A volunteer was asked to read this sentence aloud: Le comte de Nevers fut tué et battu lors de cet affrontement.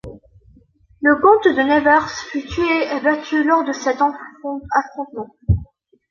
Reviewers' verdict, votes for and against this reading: rejected, 0, 2